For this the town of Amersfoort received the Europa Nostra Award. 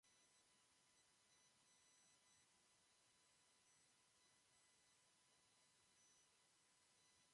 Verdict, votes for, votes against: rejected, 0, 2